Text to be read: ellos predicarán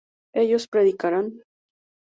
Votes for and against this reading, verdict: 2, 0, accepted